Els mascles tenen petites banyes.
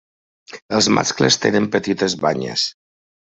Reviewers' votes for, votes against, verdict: 3, 0, accepted